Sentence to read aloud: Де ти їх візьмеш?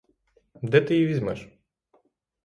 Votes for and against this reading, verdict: 0, 6, rejected